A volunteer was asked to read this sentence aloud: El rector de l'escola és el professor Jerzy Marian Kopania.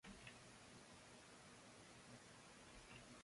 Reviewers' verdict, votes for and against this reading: rejected, 0, 2